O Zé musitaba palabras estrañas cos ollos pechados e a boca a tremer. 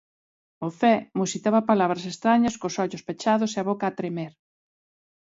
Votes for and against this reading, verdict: 3, 0, accepted